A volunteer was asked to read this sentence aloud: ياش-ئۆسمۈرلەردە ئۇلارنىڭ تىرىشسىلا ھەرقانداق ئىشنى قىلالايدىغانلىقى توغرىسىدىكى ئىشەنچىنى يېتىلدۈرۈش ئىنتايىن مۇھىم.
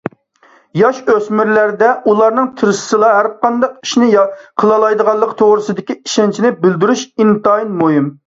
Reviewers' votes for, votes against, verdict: 1, 2, rejected